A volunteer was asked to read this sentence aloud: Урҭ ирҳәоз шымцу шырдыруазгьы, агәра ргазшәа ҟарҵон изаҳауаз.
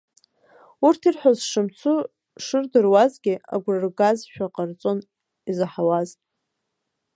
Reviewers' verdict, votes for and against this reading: rejected, 1, 2